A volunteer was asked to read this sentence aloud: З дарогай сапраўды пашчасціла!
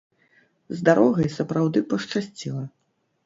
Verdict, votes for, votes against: rejected, 0, 2